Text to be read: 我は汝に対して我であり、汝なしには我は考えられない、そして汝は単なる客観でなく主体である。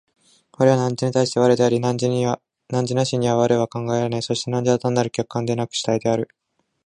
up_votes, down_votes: 2, 1